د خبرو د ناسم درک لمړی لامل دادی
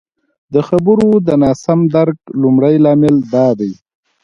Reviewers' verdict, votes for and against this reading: accepted, 2, 0